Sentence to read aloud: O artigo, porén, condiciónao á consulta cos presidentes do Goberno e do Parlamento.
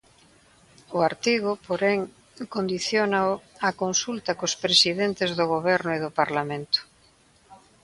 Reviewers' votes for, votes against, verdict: 3, 0, accepted